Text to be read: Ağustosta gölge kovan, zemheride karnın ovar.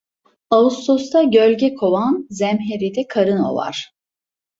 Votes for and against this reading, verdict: 1, 2, rejected